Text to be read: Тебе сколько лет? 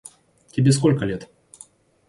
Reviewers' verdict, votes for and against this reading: accepted, 2, 0